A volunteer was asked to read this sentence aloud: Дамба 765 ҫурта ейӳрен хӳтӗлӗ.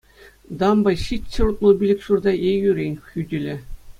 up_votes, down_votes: 0, 2